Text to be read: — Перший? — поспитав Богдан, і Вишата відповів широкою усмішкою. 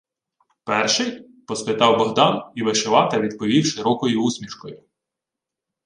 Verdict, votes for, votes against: rejected, 0, 2